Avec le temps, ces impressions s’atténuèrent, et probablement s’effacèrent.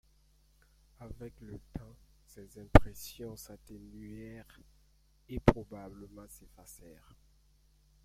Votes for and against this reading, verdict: 2, 1, accepted